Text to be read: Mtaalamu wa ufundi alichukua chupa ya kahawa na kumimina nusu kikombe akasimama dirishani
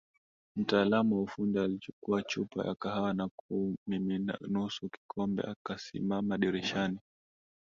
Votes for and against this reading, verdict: 1, 2, rejected